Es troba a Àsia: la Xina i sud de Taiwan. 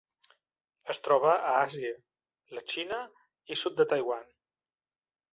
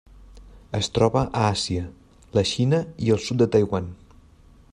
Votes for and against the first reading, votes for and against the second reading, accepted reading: 3, 1, 1, 2, first